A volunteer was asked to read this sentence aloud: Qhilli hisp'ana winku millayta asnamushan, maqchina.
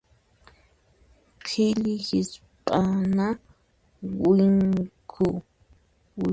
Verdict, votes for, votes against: rejected, 0, 2